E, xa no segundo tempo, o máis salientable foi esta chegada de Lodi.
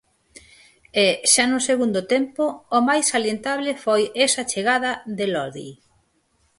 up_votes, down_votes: 0, 4